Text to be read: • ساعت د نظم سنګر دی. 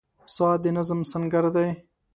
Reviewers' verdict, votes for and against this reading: accepted, 2, 0